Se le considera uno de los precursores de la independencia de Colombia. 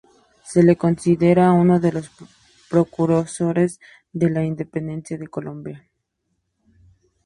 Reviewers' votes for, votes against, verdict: 0, 2, rejected